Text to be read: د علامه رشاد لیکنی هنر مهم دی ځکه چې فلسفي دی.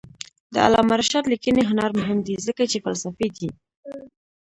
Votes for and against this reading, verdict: 1, 2, rejected